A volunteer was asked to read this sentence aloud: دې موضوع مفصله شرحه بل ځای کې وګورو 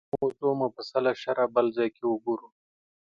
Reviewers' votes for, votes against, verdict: 2, 1, accepted